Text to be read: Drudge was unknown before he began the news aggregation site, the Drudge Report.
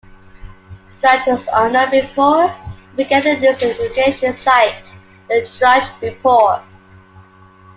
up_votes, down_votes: 2, 1